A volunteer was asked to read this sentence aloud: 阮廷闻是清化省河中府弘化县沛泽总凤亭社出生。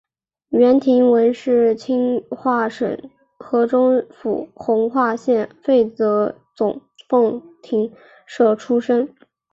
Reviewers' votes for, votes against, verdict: 2, 0, accepted